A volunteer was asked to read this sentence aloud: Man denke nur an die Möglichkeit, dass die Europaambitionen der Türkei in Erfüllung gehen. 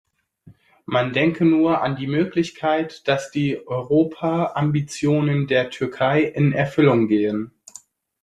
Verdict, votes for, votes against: accepted, 2, 0